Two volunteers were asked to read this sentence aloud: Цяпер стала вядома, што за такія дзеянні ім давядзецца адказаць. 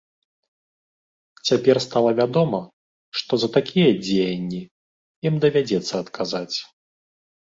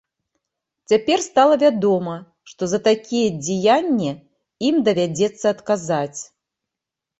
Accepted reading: first